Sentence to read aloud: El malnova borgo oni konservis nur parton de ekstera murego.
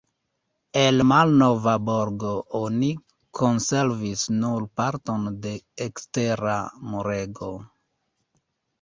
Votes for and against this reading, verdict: 2, 1, accepted